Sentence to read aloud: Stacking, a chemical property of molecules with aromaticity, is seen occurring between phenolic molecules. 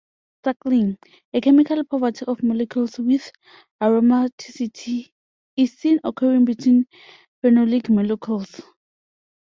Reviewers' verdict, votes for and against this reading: rejected, 0, 2